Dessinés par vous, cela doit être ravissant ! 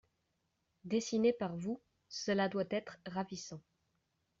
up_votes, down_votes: 2, 0